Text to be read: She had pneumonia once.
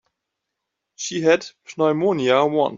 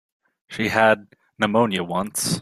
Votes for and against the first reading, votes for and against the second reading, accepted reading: 1, 2, 3, 0, second